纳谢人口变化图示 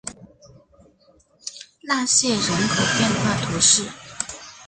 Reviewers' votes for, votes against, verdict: 4, 0, accepted